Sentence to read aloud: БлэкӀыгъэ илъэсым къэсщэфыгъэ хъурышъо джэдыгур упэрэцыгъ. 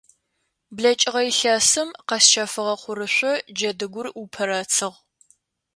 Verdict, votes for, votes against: accepted, 2, 0